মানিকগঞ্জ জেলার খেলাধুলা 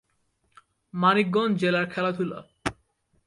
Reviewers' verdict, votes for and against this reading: accepted, 2, 0